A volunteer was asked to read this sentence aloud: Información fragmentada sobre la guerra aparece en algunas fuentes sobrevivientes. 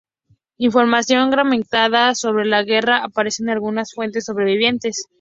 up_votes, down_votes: 2, 0